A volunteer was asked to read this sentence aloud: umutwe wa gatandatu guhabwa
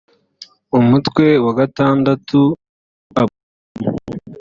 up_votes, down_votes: 1, 2